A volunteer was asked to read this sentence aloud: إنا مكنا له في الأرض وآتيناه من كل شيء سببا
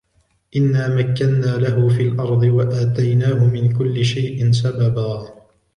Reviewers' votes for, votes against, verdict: 1, 2, rejected